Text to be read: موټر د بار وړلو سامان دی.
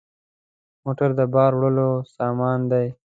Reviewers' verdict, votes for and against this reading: accepted, 2, 0